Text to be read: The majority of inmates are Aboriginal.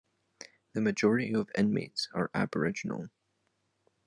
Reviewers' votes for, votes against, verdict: 2, 0, accepted